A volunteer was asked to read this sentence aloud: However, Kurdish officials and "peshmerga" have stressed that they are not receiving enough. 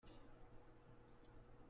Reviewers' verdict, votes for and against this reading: rejected, 0, 2